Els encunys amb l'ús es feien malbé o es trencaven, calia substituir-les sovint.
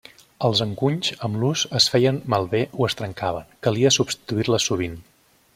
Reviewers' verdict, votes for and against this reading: accepted, 3, 0